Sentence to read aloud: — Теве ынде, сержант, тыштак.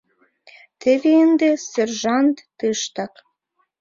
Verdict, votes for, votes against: rejected, 1, 2